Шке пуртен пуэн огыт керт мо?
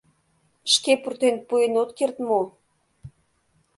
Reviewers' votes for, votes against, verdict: 1, 2, rejected